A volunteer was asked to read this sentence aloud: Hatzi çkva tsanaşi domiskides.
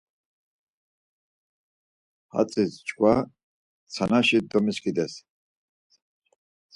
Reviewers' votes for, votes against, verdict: 4, 0, accepted